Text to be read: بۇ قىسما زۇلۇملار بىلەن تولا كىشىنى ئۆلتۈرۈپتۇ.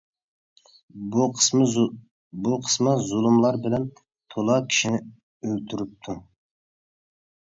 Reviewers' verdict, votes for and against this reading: rejected, 1, 2